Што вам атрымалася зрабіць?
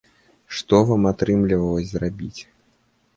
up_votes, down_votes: 1, 2